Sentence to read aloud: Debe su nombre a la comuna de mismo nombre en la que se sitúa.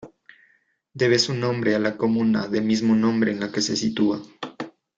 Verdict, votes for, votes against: rejected, 1, 2